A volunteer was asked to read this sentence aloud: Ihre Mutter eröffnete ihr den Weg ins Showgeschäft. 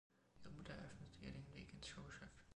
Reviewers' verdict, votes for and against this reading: rejected, 1, 2